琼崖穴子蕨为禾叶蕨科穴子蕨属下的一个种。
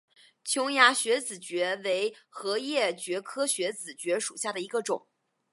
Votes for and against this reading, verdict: 5, 0, accepted